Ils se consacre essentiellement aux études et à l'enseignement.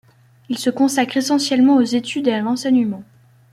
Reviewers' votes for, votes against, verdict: 2, 0, accepted